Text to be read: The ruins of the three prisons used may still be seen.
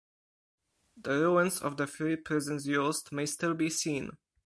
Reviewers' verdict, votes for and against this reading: accepted, 4, 0